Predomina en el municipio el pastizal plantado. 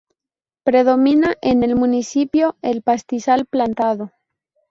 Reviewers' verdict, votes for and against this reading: rejected, 0, 2